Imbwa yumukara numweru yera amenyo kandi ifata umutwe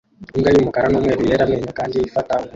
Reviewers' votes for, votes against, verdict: 0, 2, rejected